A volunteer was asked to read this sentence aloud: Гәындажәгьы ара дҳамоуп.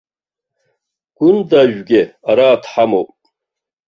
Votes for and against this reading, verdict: 0, 2, rejected